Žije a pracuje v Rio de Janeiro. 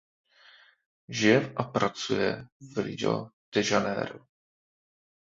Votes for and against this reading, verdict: 0, 2, rejected